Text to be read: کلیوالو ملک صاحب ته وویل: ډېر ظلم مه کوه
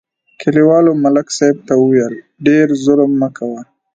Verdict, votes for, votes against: accepted, 2, 1